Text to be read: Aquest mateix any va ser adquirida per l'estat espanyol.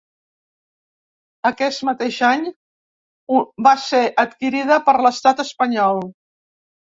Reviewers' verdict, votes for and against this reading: rejected, 0, 2